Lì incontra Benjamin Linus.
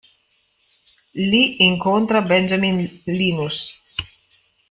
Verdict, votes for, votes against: rejected, 1, 2